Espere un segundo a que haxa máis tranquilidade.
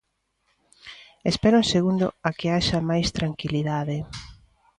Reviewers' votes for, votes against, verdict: 2, 0, accepted